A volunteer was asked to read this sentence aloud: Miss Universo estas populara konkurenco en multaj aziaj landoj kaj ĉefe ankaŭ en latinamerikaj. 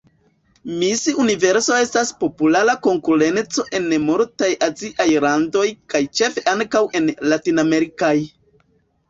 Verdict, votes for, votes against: rejected, 1, 2